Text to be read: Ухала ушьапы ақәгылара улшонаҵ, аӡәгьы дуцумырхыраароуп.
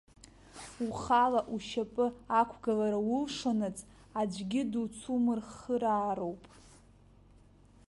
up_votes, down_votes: 0, 2